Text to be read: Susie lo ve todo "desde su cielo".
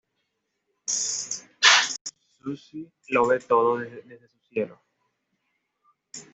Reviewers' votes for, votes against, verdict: 2, 0, accepted